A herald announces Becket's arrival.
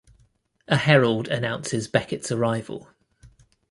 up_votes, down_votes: 2, 0